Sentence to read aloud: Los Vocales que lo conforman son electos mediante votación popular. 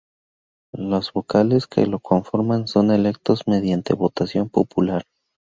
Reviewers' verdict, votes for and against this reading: rejected, 0, 2